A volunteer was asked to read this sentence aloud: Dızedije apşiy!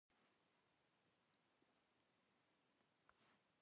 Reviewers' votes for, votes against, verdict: 0, 2, rejected